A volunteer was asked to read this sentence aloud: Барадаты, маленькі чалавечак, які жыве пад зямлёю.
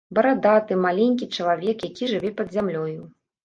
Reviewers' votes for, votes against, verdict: 0, 2, rejected